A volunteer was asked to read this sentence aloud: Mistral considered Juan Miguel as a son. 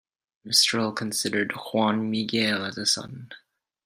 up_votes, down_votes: 2, 0